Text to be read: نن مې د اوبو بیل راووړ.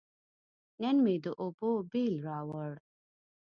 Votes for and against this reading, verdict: 2, 0, accepted